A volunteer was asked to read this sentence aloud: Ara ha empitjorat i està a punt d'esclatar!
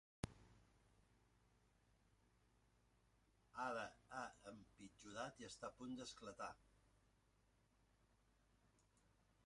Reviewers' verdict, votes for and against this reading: rejected, 1, 2